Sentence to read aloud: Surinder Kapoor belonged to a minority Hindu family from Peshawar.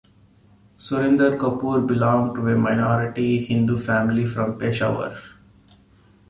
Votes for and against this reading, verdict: 2, 0, accepted